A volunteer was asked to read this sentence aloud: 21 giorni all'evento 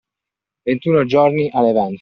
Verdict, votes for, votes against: rejected, 0, 2